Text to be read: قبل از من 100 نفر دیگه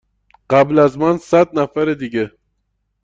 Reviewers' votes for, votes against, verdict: 0, 2, rejected